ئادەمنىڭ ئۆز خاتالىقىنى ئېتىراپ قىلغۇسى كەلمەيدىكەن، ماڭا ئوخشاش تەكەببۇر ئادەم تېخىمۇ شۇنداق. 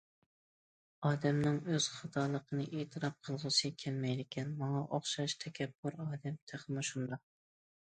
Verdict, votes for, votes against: accepted, 2, 0